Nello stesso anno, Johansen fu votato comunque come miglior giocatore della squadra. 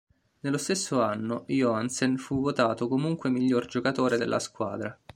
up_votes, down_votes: 0, 2